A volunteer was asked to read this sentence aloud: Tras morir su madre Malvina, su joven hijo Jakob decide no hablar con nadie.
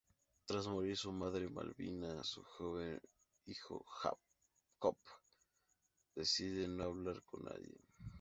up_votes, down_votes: 2, 0